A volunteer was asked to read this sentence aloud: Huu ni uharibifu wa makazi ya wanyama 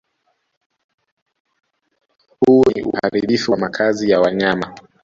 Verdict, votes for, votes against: rejected, 0, 2